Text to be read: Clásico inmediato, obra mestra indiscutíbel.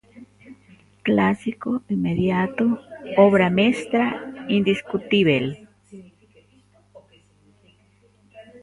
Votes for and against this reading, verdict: 1, 2, rejected